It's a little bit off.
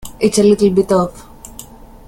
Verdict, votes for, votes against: accepted, 2, 0